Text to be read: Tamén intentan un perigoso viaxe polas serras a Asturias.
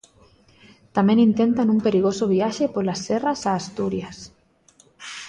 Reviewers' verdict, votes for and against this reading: accepted, 2, 0